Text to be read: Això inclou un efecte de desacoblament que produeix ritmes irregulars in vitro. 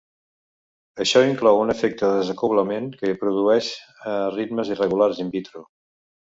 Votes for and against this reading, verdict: 0, 2, rejected